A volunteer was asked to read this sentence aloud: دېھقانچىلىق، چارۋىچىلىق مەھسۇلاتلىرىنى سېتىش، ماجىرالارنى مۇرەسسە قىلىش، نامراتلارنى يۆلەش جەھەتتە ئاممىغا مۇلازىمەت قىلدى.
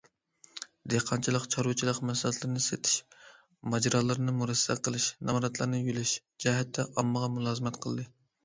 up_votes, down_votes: 2, 0